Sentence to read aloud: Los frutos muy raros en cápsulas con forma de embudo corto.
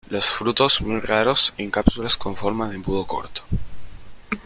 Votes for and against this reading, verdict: 1, 2, rejected